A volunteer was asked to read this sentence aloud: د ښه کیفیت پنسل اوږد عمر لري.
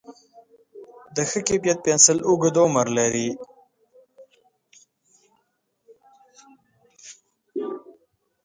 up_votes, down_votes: 2, 0